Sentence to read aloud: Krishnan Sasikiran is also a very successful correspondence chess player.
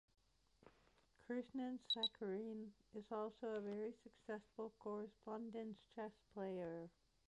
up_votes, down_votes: 1, 2